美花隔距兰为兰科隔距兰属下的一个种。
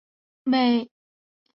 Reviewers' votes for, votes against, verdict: 0, 2, rejected